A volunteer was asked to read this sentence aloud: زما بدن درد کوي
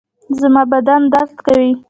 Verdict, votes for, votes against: rejected, 1, 2